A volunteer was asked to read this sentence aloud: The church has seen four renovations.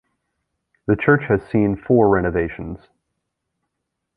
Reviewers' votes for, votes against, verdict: 2, 0, accepted